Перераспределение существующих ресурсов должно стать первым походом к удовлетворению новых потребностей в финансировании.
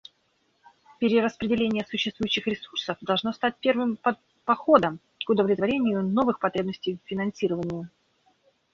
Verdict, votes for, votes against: rejected, 1, 2